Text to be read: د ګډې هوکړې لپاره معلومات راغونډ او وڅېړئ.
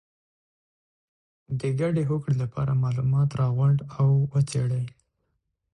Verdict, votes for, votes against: accepted, 6, 0